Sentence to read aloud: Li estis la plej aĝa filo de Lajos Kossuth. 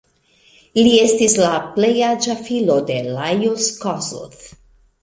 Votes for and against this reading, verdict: 2, 0, accepted